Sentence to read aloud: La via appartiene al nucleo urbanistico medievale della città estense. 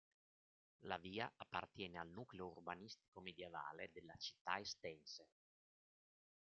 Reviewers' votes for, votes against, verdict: 2, 0, accepted